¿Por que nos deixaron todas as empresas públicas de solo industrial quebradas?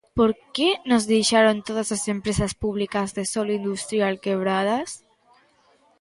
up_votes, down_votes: 2, 0